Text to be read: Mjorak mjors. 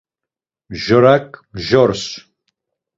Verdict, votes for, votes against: accepted, 2, 0